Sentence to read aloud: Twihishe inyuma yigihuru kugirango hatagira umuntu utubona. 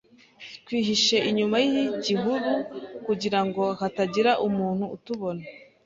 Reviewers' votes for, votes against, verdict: 2, 0, accepted